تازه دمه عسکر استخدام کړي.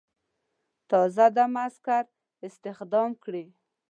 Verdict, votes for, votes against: accepted, 2, 0